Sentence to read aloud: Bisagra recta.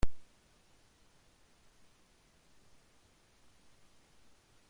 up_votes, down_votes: 0, 2